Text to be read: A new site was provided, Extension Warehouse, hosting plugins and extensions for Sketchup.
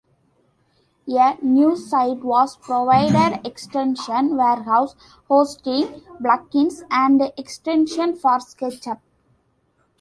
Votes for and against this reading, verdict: 2, 0, accepted